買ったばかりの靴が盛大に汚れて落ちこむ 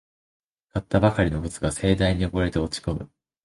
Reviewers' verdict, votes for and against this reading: rejected, 0, 2